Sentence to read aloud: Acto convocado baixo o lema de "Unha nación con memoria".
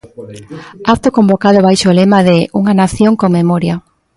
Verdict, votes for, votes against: rejected, 1, 2